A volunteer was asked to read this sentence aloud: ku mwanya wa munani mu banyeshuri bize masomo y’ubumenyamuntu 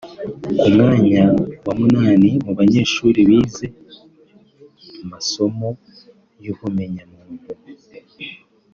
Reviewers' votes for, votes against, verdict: 2, 1, accepted